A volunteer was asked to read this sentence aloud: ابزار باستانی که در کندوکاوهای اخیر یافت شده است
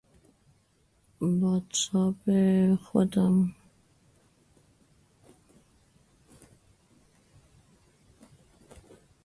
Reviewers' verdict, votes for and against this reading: rejected, 0, 2